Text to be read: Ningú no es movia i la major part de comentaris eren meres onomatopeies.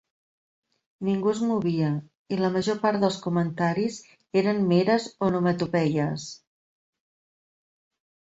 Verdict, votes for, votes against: rejected, 1, 3